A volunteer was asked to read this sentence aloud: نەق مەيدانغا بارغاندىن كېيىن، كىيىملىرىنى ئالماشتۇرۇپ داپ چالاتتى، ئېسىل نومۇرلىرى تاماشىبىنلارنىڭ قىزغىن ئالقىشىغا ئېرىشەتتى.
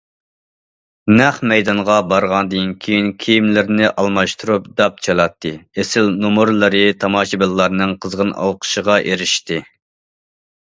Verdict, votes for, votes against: rejected, 0, 2